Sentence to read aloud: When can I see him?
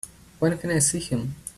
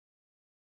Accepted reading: first